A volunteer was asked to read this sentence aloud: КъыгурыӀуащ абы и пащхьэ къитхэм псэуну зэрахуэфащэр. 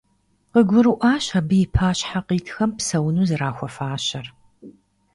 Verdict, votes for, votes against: accepted, 2, 0